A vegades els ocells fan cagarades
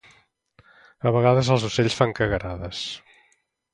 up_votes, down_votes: 2, 0